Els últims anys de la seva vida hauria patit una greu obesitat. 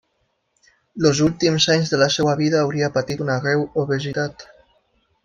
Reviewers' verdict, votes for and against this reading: rejected, 1, 2